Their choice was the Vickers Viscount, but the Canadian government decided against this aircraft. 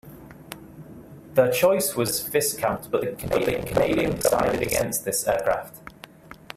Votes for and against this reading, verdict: 0, 2, rejected